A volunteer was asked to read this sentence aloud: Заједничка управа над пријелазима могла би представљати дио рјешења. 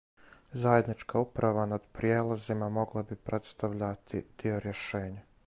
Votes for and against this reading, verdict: 2, 2, rejected